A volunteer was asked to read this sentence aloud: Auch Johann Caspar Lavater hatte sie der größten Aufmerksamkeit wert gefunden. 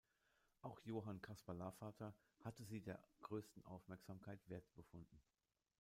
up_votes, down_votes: 1, 2